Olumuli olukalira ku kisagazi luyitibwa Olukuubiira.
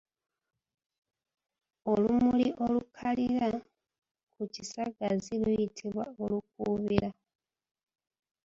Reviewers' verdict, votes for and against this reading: accepted, 2, 0